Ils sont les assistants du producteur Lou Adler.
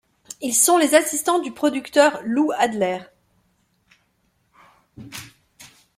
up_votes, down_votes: 2, 0